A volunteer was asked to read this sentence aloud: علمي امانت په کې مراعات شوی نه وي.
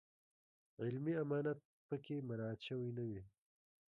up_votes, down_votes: 1, 2